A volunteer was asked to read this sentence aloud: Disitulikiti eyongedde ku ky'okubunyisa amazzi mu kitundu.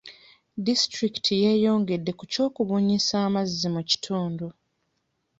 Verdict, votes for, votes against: rejected, 0, 2